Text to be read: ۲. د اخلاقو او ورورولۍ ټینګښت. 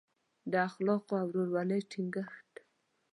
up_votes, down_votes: 0, 2